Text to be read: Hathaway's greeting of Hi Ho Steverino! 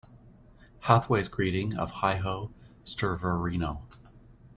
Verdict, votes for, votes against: rejected, 1, 2